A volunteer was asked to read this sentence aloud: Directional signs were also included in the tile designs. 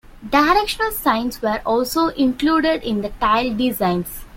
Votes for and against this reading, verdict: 2, 0, accepted